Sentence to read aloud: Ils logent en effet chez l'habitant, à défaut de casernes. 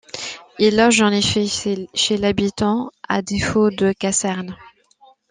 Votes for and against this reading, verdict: 1, 2, rejected